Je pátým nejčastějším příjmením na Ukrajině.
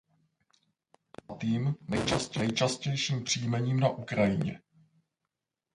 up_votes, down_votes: 0, 2